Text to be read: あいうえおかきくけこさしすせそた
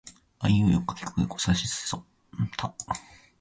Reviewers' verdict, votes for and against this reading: rejected, 2, 3